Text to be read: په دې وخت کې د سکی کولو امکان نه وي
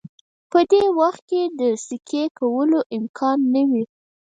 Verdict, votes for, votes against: rejected, 2, 4